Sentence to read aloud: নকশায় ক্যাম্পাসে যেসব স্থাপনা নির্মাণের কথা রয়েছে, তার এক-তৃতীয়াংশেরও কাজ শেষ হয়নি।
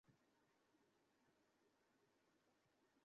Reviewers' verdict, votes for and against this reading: rejected, 0, 2